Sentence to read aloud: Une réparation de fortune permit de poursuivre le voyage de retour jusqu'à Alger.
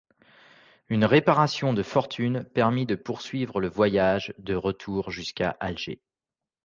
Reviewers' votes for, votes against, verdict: 2, 0, accepted